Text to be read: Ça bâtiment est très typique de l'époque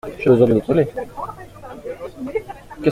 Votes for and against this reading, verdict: 0, 2, rejected